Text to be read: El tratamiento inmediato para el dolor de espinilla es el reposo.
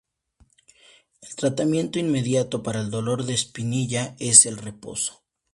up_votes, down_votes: 4, 0